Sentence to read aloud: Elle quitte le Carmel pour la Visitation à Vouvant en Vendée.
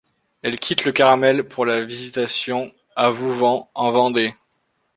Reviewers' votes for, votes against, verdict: 2, 0, accepted